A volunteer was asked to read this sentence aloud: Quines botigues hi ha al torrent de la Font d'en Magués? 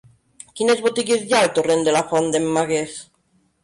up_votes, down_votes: 3, 0